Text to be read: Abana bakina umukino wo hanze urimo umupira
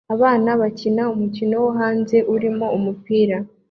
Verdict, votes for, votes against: accepted, 2, 0